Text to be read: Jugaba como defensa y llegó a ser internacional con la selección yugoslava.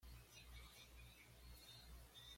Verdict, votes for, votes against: rejected, 1, 2